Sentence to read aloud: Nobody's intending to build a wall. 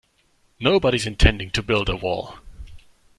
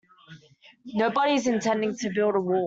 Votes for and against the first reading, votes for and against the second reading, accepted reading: 2, 0, 0, 2, first